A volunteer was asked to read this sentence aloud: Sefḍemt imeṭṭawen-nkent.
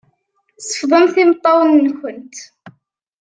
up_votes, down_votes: 2, 0